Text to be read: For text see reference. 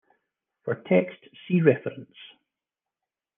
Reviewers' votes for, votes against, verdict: 2, 0, accepted